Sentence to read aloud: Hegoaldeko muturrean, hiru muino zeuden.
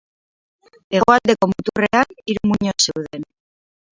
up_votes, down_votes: 0, 4